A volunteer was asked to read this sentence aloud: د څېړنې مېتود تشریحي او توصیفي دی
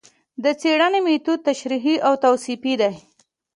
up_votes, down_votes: 2, 0